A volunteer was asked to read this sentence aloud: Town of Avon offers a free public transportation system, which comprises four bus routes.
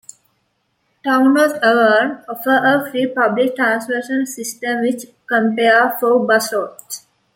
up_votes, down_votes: 1, 2